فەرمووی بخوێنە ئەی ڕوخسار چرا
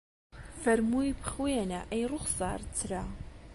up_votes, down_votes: 2, 0